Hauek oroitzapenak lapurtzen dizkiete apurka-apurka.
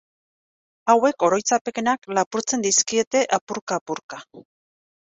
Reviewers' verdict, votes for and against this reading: rejected, 1, 2